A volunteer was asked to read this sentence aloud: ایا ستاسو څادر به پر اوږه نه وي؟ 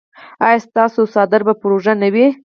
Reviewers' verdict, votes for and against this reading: accepted, 4, 0